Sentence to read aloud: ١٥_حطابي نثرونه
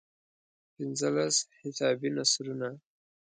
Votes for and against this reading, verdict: 0, 2, rejected